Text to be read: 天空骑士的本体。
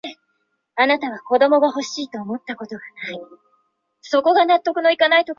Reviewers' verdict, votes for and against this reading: rejected, 0, 2